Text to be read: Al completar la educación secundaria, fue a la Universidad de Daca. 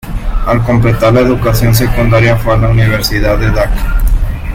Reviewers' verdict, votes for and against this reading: rejected, 1, 2